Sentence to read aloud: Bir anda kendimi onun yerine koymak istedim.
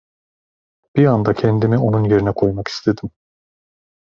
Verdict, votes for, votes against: accepted, 2, 0